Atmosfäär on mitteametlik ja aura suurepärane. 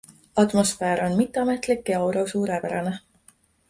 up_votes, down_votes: 2, 0